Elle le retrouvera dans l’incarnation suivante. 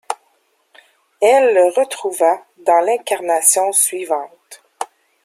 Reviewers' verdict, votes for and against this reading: rejected, 1, 2